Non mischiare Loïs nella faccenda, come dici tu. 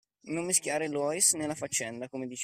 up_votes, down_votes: 0, 2